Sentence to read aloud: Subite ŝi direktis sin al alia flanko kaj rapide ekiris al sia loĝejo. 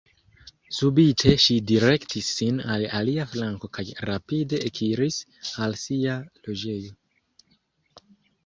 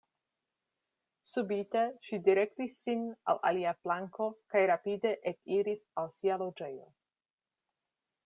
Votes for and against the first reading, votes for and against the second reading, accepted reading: 0, 3, 2, 0, second